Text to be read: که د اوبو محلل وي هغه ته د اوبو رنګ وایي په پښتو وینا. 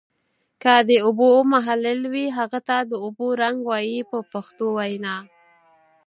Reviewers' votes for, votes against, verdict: 6, 0, accepted